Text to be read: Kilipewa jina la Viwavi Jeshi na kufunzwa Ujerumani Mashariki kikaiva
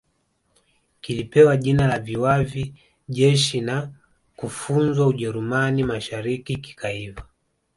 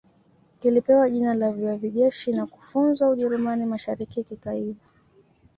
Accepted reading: second